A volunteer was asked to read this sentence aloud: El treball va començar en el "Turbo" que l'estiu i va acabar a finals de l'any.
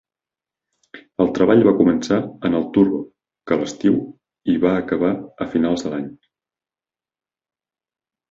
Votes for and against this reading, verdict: 2, 0, accepted